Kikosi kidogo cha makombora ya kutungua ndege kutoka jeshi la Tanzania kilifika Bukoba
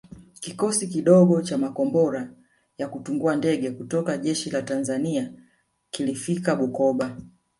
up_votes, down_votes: 2, 0